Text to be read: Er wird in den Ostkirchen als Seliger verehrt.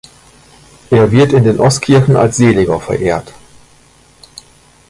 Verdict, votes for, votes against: accepted, 2, 0